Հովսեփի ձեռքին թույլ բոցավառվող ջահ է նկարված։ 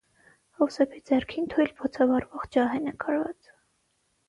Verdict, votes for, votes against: rejected, 0, 6